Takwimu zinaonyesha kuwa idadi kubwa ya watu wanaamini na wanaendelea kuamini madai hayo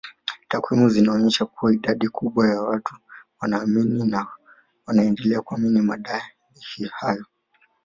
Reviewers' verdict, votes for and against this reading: rejected, 0, 2